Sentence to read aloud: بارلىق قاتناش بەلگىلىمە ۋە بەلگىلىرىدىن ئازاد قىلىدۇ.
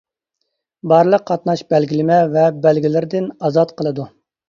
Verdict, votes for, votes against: accepted, 2, 0